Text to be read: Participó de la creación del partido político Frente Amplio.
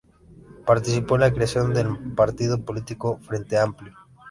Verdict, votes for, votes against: rejected, 0, 2